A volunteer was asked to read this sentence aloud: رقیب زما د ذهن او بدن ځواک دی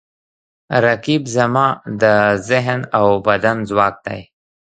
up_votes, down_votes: 2, 1